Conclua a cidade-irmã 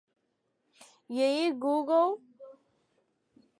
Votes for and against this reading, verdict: 0, 2, rejected